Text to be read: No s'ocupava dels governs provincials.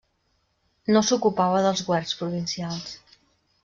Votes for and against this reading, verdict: 0, 2, rejected